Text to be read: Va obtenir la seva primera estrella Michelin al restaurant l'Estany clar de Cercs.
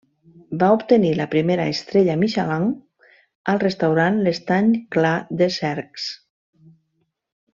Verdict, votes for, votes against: rejected, 1, 2